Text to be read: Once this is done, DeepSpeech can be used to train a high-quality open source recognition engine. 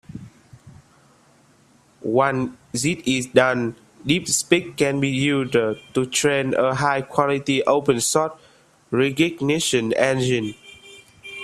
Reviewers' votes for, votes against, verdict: 1, 2, rejected